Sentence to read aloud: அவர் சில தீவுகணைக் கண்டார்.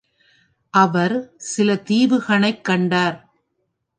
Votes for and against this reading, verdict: 1, 2, rejected